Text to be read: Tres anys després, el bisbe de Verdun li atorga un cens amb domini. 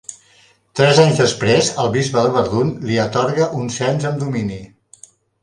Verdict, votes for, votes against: accepted, 2, 0